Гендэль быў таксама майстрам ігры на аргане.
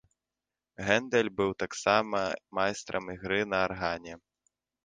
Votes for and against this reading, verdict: 0, 2, rejected